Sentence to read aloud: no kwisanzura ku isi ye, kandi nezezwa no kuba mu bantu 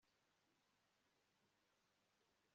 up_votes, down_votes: 1, 2